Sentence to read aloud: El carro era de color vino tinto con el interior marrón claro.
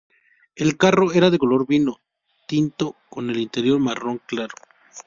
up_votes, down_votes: 2, 0